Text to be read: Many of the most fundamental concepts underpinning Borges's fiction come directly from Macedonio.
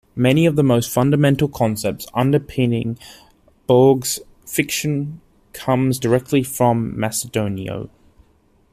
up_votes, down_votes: 1, 2